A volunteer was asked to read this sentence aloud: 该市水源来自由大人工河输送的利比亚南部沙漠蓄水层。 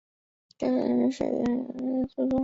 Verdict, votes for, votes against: rejected, 0, 2